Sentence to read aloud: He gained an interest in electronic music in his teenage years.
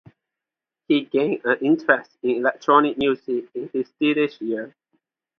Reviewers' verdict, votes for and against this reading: rejected, 0, 2